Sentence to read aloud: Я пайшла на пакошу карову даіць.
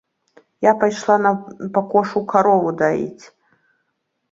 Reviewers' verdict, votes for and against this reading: accepted, 2, 0